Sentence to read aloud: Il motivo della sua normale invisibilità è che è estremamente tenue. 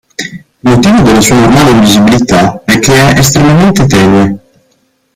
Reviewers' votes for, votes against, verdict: 1, 2, rejected